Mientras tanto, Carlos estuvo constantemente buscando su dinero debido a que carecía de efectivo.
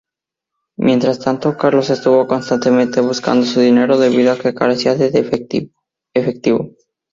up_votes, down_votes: 0, 2